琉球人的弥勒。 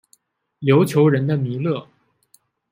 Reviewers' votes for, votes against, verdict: 2, 0, accepted